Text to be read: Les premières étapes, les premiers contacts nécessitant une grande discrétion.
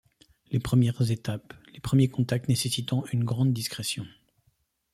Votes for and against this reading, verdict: 2, 0, accepted